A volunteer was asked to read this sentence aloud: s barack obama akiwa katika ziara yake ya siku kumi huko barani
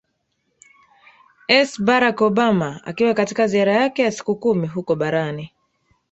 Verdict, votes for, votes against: rejected, 1, 2